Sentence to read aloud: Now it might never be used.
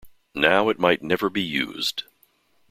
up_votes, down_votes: 2, 0